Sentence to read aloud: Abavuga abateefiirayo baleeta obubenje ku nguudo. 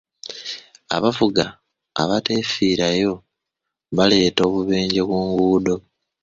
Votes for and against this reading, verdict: 1, 2, rejected